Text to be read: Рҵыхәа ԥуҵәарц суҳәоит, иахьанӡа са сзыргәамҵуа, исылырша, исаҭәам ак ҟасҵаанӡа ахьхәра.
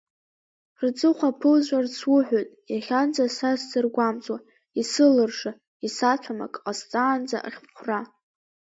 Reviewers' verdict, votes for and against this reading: accepted, 2, 0